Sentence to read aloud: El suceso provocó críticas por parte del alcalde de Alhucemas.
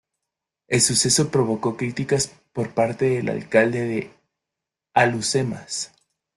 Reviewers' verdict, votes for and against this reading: accepted, 2, 0